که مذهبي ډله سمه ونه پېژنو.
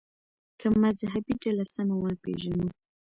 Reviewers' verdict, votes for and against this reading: rejected, 0, 2